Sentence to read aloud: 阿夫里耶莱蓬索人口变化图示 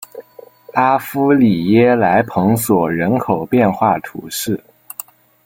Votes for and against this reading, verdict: 2, 0, accepted